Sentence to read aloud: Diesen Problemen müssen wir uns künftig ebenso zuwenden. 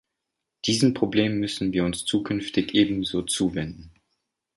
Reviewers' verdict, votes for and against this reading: rejected, 0, 2